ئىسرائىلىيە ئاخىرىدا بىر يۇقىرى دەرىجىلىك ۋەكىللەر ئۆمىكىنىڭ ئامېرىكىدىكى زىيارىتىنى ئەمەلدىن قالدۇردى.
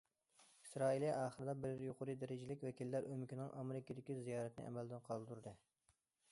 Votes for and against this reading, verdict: 2, 0, accepted